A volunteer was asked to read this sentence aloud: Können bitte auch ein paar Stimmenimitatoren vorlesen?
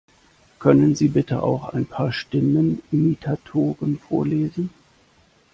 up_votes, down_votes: 0, 2